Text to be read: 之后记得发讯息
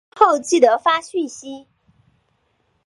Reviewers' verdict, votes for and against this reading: rejected, 1, 3